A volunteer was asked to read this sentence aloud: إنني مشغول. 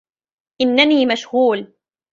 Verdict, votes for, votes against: rejected, 1, 2